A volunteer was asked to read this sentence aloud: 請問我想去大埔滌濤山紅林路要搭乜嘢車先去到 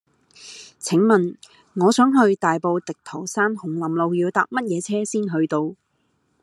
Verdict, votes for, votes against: accepted, 2, 0